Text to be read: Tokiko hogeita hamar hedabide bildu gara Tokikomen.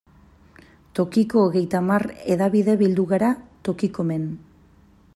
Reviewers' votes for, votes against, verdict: 2, 0, accepted